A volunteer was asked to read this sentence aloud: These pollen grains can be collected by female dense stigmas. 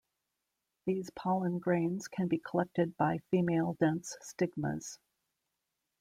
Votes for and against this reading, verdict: 2, 0, accepted